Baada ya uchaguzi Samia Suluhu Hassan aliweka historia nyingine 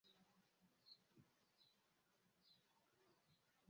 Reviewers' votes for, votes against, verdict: 0, 2, rejected